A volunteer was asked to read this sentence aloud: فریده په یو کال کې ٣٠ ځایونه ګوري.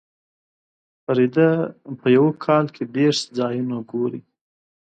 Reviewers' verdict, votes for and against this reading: rejected, 0, 2